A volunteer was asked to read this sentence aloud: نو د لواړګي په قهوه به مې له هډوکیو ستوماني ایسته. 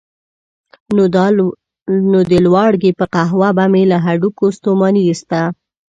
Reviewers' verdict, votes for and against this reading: rejected, 1, 2